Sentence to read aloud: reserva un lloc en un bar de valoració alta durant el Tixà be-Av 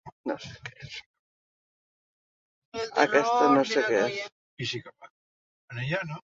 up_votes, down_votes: 0, 2